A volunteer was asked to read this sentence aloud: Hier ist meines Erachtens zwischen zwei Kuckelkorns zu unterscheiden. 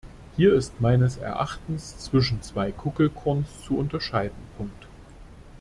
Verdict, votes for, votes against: rejected, 0, 2